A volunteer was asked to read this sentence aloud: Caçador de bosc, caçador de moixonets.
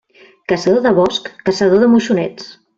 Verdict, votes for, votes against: accepted, 3, 0